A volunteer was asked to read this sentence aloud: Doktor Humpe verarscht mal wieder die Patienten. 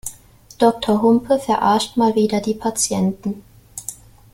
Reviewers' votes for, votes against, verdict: 2, 0, accepted